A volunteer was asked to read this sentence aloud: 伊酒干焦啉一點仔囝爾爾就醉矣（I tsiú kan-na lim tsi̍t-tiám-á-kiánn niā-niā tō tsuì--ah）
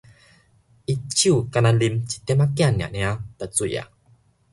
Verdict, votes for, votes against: accepted, 2, 0